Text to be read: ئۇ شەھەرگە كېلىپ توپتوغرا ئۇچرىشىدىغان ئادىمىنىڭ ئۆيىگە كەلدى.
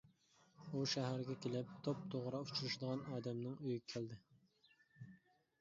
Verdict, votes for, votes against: rejected, 1, 2